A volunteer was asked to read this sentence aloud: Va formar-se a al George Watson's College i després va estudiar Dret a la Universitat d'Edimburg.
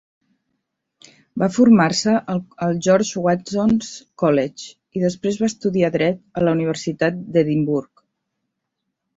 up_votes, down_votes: 0, 2